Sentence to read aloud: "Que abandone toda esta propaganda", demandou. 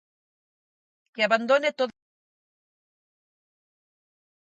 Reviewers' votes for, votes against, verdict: 0, 6, rejected